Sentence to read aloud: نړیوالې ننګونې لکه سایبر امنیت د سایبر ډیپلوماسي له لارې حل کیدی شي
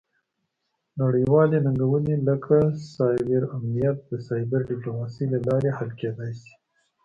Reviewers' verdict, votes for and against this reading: accepted, 2, 0